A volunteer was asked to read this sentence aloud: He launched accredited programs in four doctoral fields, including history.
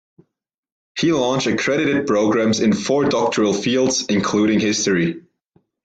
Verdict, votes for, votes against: accepted, 2, 0